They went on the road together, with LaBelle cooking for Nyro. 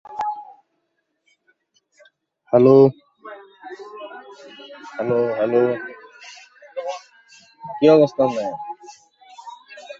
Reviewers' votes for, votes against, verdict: 0, 2, rejected